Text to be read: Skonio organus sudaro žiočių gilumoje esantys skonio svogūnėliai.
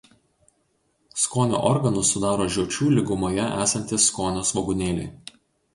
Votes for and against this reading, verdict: 0, 2, rejected